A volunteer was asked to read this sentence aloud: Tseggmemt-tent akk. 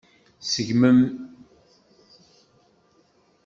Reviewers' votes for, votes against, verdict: 0, 3, rejected